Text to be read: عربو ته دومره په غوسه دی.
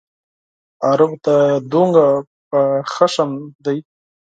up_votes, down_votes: 4, 0